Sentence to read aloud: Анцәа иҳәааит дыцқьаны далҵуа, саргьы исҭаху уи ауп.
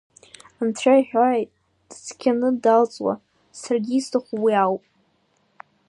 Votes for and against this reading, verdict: 2, 0, accepted